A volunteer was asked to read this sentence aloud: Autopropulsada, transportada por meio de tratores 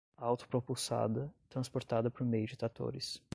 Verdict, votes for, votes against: accepted, 10, 0